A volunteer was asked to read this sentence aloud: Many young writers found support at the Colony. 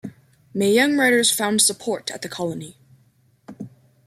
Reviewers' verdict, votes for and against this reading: rejected, 1, 2